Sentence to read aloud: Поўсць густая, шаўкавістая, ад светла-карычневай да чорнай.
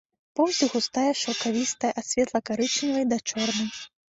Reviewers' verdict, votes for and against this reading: rejected, 1, 2